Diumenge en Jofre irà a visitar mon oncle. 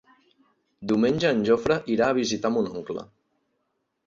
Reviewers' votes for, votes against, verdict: 4, 0, accepted